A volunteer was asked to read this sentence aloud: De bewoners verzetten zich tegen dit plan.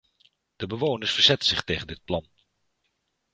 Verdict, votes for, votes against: accepted, 2, 1